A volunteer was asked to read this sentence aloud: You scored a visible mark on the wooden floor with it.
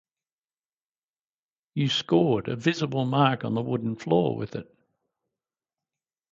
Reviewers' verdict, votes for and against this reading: rejected, 0, 2